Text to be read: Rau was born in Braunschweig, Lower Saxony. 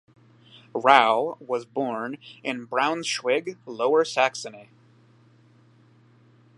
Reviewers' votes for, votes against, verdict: 0, 2, rejected